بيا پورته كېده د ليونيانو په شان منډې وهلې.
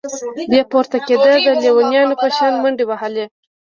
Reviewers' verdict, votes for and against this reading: accepted, 2, 0